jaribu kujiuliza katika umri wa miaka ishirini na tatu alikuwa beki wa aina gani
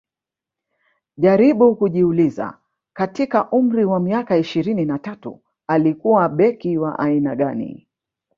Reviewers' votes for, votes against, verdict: 4, 0, accepted